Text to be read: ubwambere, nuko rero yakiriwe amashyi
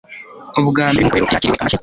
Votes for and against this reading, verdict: 1, 2, rejected